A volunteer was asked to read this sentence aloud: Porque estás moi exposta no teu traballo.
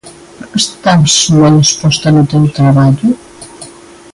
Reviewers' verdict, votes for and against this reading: rejected, 0, 3